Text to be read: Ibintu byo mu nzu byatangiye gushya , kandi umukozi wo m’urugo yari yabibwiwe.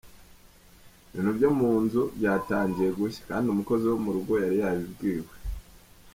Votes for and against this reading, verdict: 1, 2, rejected